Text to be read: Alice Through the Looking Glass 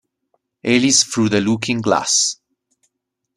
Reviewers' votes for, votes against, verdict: 2, 0, accepted